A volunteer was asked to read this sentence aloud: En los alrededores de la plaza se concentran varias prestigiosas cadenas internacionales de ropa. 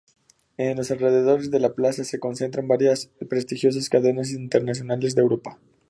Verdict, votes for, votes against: accepted, 2, 0